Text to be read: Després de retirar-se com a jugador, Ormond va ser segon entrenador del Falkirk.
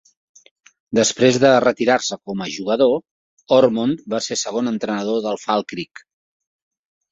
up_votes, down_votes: 2, 3